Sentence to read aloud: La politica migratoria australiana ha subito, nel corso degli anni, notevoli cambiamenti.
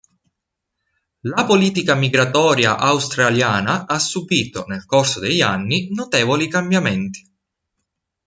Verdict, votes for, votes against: accepted, 2, 0